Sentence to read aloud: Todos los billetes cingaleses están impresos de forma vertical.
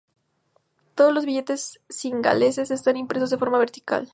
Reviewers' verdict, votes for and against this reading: accepted, 2, 0